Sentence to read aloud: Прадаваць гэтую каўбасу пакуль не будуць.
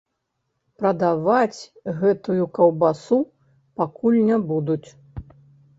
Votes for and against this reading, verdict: 0, 3, rejected